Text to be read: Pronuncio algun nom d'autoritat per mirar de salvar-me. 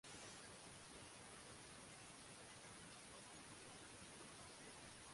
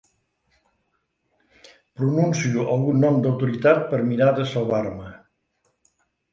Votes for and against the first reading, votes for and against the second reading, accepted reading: 0, 3, 3, 1, second